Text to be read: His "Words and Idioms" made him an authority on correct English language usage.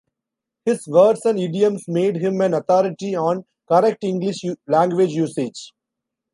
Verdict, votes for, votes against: rejected, 1, 2